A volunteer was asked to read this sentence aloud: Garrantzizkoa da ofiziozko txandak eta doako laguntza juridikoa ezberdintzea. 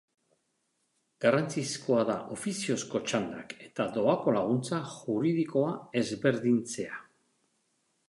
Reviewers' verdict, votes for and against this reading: accepted, 2, 0